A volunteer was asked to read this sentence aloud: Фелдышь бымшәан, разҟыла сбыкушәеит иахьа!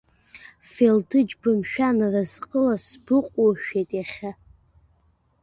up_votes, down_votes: 0, 2